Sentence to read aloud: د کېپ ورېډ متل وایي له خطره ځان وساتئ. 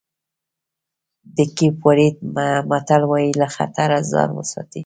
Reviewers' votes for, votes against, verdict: 1, 2, rejected